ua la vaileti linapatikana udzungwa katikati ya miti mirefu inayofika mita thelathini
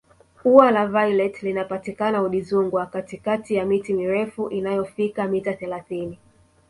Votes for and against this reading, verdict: 1, 2, rejected